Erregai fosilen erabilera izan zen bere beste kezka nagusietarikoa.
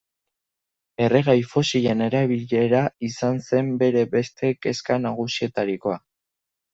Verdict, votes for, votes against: accepted, 2, 0